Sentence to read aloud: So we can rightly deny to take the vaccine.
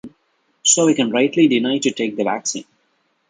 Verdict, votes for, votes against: accepted, 2, 0